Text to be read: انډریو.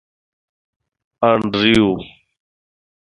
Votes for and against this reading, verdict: 2, 0, accepted